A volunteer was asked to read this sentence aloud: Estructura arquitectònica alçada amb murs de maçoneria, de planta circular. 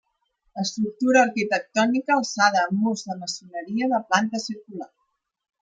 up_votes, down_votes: 2, 0